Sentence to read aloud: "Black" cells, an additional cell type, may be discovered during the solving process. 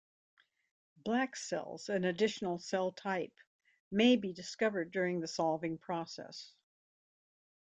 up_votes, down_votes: 2, 0